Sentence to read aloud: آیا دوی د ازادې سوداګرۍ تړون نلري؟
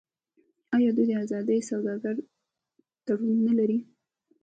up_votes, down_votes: 2, 0